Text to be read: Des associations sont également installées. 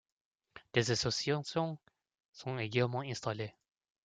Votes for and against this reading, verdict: 0, 2, rejected